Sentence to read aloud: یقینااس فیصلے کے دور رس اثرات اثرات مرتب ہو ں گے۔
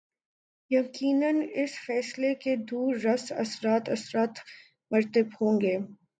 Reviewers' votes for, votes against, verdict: 2, 0, accepted